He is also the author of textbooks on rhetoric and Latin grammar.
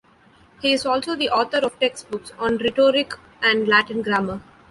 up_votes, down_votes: 2, 0